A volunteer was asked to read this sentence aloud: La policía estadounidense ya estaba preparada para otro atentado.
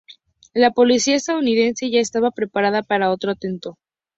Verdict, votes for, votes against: rejected, 0, 2